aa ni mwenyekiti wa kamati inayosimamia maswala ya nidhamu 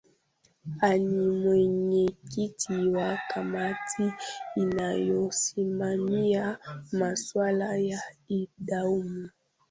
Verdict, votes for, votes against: rejected, 0, 2